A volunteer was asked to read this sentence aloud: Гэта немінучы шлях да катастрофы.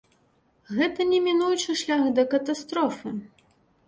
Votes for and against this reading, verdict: 2, 0, accepted